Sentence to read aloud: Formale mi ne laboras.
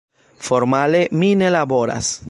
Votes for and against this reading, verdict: 2, 0, accepted